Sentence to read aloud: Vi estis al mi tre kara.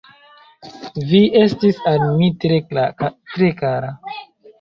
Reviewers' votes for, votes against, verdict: 0, 2, rejected